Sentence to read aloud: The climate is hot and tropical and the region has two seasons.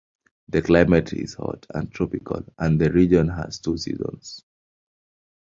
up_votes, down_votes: 2, 0